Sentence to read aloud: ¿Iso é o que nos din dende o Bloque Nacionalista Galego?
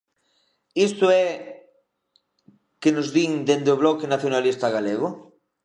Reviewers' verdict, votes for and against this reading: rejected, 0, 2